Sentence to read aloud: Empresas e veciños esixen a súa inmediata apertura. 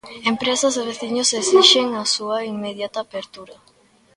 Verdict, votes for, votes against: accepted, 2, 0